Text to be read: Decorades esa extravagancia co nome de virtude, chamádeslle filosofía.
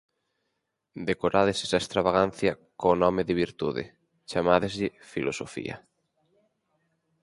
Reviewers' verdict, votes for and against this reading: accepted, 4, 0